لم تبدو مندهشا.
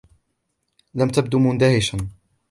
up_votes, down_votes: 2, 0